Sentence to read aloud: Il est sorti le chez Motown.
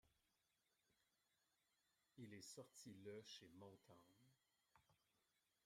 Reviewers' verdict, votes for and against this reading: accepted, 2, 1